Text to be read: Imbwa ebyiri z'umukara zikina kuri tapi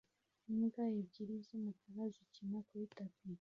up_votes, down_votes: 2, 0